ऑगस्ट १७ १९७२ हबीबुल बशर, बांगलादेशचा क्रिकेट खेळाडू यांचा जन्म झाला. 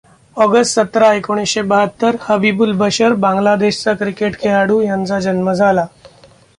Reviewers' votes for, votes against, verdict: 0, 2, rejected